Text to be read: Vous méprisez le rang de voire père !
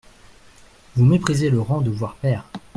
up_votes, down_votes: 2, 0